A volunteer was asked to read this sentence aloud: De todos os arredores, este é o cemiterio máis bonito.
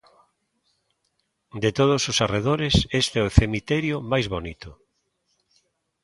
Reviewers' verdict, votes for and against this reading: accepted, 5, 0